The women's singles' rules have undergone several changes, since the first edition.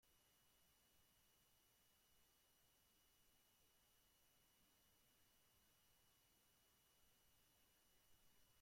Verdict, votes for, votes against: rejected, 0, 2